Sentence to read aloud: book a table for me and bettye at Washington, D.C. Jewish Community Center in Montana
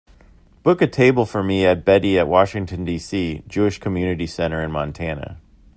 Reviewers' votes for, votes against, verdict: 2, 0, accepted